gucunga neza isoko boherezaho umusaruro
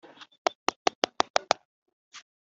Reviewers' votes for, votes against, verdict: 0, 2, rejected